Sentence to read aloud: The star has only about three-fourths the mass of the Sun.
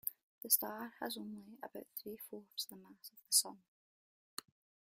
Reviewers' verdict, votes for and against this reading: accepted, 2, 1